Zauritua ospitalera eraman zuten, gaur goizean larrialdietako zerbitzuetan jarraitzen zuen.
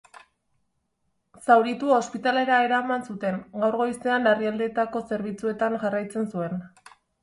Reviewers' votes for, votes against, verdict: 2, 0, accepted